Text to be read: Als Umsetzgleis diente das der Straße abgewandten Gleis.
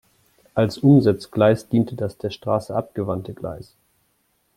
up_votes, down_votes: 1, 2